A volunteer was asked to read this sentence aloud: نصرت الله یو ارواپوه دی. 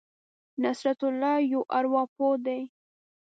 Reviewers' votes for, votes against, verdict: 2, 0, accepted